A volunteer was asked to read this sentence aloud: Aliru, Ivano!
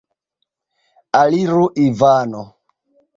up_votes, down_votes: 2, 1